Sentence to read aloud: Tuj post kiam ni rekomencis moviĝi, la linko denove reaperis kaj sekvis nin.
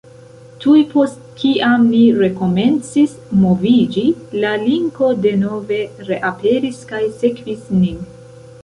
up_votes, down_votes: 2, 1